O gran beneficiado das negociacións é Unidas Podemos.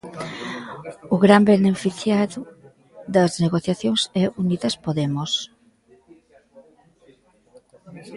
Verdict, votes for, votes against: rejected, 1, 2